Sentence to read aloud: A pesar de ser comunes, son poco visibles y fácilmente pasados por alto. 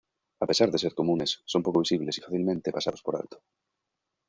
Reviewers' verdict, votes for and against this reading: rejected, 1, 2